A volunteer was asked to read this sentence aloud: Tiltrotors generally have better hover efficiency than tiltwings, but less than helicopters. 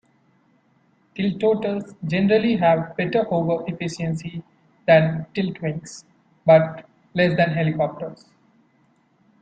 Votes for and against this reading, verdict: 0, 2, rejected